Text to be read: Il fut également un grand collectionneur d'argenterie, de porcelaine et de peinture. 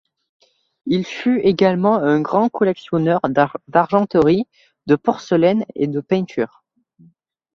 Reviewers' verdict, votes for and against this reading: rejected, 0, 2